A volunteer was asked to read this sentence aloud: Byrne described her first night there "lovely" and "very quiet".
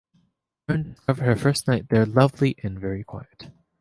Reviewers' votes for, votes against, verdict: 0, 2, rejected